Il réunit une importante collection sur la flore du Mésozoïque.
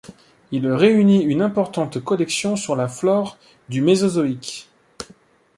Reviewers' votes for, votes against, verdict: 2, 1, accepted